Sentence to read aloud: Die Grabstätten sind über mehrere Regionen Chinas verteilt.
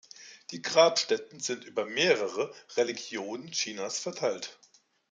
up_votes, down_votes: 0, 2